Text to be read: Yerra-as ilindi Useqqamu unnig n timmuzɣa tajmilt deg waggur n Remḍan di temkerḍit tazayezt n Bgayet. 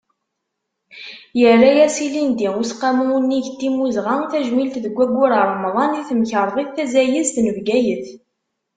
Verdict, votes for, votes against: accepted, 2, 0